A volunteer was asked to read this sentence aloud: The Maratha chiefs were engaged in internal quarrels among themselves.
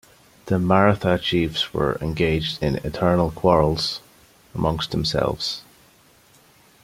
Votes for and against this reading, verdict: 1, 2, rejected